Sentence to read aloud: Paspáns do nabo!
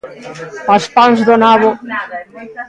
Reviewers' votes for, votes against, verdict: 0, 2, rejected